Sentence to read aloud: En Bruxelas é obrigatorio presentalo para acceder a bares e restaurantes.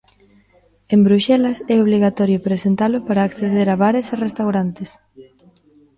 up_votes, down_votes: 0, 2